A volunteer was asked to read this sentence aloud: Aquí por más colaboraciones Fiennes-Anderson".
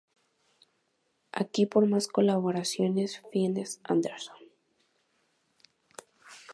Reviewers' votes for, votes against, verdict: 2, 0, accepted